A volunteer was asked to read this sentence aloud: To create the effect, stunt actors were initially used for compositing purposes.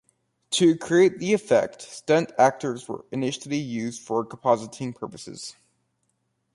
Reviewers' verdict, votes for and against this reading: accepted, 2, 0